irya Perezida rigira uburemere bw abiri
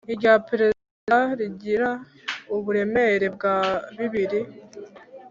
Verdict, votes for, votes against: rejected, 1, 2